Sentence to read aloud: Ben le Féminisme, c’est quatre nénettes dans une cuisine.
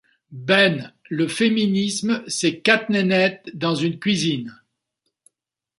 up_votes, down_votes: 0, 2